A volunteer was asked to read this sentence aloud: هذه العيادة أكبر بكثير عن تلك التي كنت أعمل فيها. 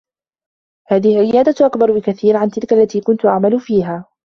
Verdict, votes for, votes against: accepted, 2, 0